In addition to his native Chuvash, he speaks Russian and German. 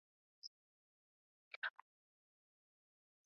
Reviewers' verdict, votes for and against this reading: rejected, 0, 3